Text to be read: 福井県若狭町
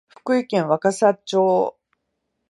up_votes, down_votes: 2, 0